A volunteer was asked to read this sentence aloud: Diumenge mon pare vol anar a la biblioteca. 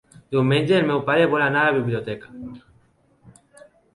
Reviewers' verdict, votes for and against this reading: rejected, 1, 2